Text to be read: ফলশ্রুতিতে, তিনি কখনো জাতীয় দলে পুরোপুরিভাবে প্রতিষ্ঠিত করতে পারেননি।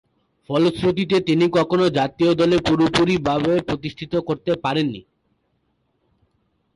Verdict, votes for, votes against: accepted, 2, 0